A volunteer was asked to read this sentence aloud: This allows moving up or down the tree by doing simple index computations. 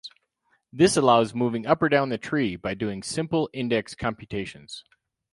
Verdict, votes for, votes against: rejected, 0, 2